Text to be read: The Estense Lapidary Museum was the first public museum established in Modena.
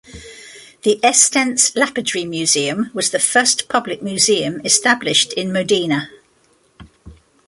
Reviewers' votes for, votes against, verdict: 2, 0, accepted